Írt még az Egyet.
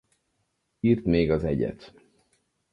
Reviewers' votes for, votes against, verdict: 2, 2, rejected